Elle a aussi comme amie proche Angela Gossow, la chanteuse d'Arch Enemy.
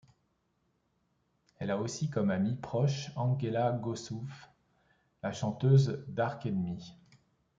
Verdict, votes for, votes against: accepted, 2, 0